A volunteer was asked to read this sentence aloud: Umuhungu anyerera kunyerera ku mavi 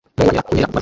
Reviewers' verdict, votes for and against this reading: rejected, 0, 2